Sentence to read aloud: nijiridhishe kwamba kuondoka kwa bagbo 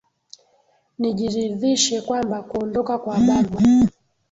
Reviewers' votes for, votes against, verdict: 1, 2, rejected